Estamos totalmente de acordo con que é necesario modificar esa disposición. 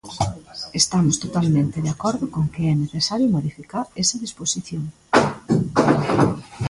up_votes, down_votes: 1, 2